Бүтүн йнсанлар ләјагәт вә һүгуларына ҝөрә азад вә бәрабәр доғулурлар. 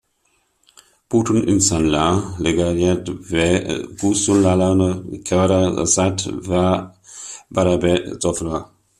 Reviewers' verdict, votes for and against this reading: rejected, 0, 2